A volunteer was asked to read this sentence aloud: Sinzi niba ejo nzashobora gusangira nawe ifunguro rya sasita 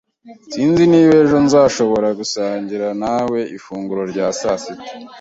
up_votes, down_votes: 2, 0